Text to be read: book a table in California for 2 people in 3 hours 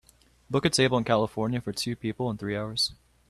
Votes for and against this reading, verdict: 0, 2, rejected